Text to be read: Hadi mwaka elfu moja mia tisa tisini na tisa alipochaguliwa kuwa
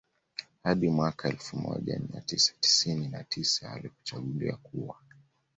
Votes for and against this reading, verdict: 2, 0, accepted